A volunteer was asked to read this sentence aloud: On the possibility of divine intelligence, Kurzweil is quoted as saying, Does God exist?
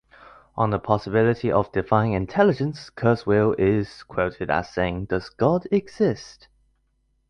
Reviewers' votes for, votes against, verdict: 2, 1, accepted